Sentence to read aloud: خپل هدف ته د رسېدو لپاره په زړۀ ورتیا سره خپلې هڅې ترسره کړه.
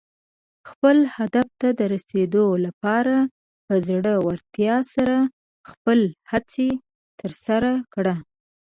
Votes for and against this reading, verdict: 0, 2, rejected